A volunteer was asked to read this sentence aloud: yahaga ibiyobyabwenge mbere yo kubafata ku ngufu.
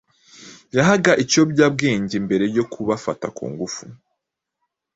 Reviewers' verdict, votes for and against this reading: accepted, 2, 0